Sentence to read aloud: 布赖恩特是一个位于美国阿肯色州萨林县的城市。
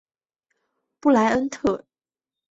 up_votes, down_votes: 2, 0